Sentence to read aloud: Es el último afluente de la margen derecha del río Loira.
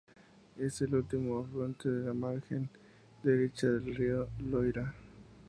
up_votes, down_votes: 0, 2